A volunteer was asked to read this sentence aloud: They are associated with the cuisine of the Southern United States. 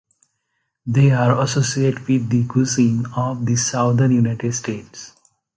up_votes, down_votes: 2, 0